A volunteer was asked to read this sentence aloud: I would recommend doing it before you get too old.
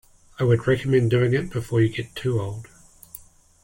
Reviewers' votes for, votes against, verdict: 2, 0, accepted